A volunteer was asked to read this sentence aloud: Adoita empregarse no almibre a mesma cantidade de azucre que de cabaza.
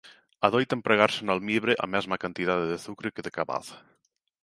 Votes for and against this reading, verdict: 2, 0, accepted